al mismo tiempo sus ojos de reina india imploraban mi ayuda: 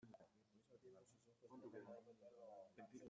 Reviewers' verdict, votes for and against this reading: rejected, 0, 2